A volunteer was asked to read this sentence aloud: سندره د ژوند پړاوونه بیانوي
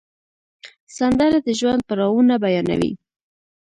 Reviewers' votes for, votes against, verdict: 1, 2, rejected